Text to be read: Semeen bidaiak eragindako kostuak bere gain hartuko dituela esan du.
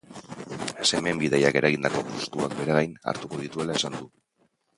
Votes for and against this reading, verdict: 0, 3, rejected